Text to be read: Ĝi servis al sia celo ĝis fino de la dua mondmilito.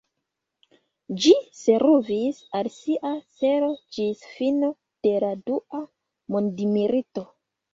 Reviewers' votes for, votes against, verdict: 0, 2, rejected